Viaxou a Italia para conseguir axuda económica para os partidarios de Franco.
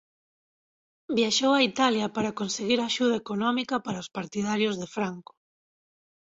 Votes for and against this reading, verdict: 4, 0, accepted